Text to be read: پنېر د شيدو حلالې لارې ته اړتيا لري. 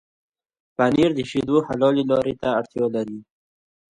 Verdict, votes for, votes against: accepted, 2, 0